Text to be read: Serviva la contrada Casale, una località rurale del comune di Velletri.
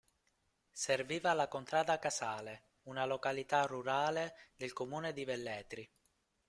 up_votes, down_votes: 2, 3